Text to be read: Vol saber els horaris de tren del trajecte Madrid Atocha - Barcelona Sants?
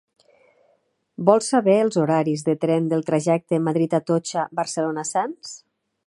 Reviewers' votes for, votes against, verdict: 4, 0, accepted